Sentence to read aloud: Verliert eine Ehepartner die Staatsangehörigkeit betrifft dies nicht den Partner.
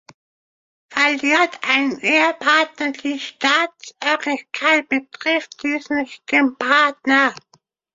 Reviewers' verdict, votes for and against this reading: rejected, 0, 2